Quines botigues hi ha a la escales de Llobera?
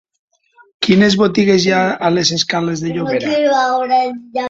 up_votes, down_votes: 2, 1